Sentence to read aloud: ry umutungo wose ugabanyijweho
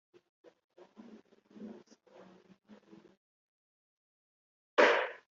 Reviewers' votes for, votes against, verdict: 0, 2, rejected